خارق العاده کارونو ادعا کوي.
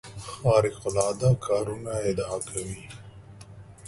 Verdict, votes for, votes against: accepted, 2, 1